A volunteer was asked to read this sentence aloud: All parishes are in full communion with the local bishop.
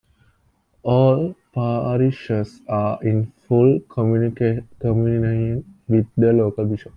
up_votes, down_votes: 0, 2